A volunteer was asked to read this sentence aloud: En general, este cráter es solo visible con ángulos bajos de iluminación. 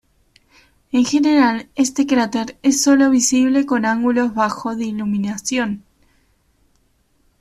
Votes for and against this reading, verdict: 2, 0, accepted